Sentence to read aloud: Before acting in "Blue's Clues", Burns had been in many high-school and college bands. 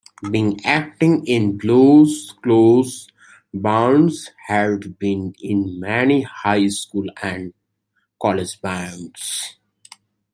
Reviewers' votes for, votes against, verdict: 2, 1, accepted